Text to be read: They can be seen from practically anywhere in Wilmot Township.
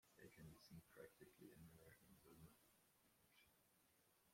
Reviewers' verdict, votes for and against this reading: rejected, 0, 2